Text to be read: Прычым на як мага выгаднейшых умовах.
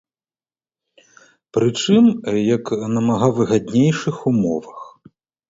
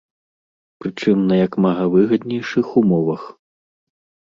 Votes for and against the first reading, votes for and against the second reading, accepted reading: 0, 2, 2, 0, second